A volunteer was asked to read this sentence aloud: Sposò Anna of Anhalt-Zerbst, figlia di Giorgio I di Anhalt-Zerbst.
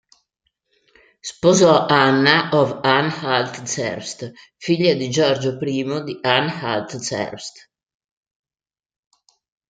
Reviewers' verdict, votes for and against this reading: accepted, 2, 0